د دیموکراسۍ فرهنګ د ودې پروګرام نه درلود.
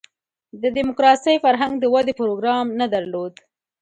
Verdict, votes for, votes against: accepted, 2, 0